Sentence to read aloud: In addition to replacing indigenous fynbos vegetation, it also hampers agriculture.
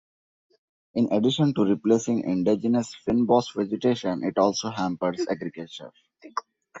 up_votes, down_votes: 2, 1